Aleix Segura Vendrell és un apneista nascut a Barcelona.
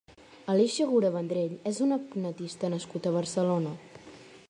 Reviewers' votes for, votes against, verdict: 0, 2, rejected